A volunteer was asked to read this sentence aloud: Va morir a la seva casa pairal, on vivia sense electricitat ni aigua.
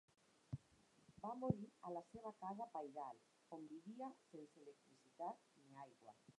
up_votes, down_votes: 2, 4